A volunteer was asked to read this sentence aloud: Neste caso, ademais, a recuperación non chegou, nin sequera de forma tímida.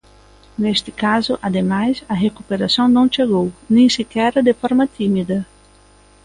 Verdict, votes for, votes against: rejected, 1, 2